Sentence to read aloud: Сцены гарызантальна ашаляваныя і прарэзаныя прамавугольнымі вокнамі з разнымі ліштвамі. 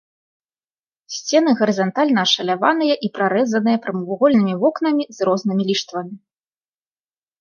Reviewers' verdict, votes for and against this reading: accepted, 3, 1